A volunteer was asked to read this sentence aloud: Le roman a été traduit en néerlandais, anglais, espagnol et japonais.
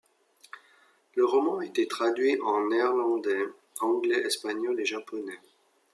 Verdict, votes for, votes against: accepted, 2, 1